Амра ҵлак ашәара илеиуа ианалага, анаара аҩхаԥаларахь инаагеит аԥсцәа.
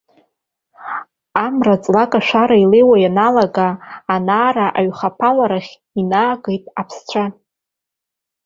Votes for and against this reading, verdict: 4, 0, accepted